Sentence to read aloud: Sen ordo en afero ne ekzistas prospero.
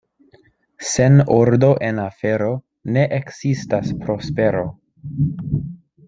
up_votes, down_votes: 2, 0